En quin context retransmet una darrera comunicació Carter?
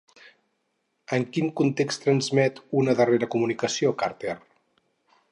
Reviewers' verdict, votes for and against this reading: rejected, 0, 4